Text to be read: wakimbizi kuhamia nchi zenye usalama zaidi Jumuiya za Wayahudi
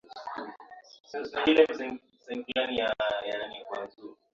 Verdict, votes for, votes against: rejected, 0, 2